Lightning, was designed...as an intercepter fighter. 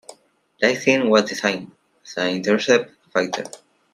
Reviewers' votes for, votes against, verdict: 0, 2, rejected